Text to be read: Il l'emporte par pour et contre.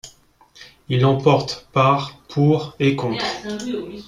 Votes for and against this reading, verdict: 2, 1, accepted